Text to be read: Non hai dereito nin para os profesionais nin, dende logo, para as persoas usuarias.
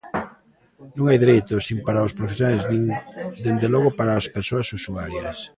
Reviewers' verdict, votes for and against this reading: rejected, 0, 3